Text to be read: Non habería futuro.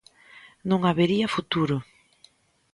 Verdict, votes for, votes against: accepted, 2, 0